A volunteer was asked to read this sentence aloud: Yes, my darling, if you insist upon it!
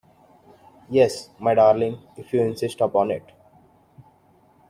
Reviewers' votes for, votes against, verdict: 2, 0, accepted